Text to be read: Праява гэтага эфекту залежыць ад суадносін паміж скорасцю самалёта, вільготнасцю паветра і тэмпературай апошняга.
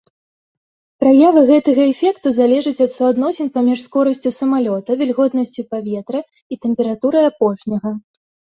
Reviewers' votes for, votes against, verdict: 2, 0, accepted